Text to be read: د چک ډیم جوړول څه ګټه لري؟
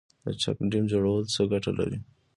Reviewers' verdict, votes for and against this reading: accepted, 2, 1